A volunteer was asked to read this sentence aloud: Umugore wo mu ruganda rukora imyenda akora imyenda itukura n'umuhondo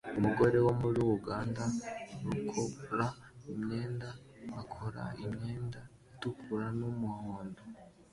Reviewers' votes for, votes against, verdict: 2, 0, accepted